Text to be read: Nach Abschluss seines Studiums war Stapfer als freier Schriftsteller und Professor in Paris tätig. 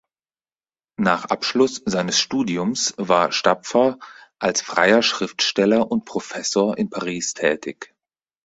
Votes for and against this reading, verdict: 4, 0, accepted